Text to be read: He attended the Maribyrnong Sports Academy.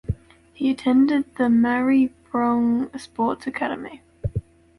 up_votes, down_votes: 1, 2